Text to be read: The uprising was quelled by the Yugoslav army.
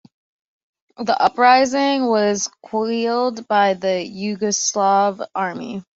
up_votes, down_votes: 0, 2